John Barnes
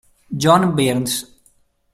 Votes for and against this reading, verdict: 0, 2, rejected